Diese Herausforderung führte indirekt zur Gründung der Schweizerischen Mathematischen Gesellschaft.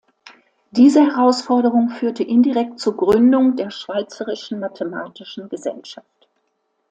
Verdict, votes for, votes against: accepted, 2, 0